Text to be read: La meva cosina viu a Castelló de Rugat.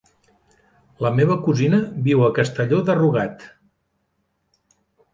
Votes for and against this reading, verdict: 1, 2, rejected